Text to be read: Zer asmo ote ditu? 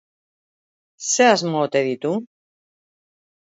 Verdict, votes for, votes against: accepted, 2, 0